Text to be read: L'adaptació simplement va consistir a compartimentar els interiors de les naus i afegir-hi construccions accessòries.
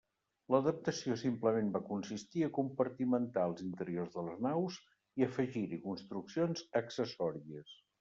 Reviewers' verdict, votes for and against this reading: accepted, 2, 0